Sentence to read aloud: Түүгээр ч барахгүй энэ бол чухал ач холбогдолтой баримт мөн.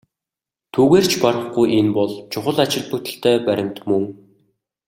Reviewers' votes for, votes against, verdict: 2, 0, accepted